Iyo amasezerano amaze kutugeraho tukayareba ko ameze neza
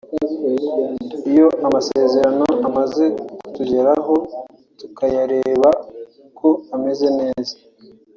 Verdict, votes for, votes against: accepted, 3, 0